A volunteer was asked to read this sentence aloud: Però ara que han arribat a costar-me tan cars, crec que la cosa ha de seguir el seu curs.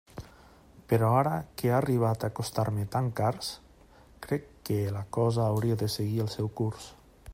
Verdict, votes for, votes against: rejected, 0, 2